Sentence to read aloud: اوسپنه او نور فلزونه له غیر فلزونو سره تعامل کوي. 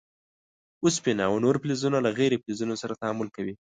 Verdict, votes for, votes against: accepted, 2, 0